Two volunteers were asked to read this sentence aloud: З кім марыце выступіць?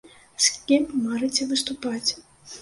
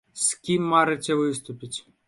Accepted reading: second